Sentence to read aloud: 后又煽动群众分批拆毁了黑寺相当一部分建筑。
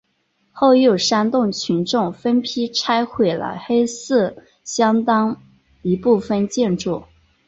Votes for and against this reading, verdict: 3, 0, accepted